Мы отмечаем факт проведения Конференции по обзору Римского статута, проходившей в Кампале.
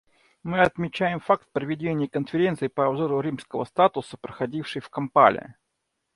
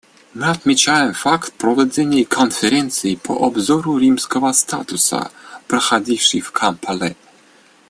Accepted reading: second